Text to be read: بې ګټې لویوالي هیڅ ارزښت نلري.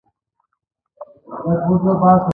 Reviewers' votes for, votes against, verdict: 1, 2, rejected